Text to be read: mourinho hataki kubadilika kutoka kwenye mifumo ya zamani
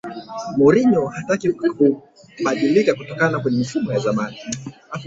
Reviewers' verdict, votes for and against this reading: rejected, 2, 3